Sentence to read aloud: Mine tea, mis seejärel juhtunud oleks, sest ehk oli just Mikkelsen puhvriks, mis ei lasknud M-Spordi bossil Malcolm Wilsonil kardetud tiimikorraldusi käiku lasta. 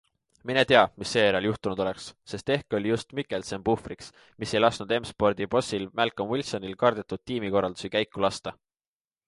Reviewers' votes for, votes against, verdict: 2, 0, accepted